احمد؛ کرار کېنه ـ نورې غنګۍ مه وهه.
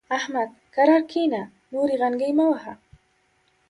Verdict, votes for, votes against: accepted, 2, 0